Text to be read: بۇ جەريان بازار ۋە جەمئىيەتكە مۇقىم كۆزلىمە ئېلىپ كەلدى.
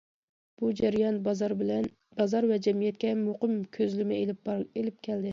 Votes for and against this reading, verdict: 0, 2, rejected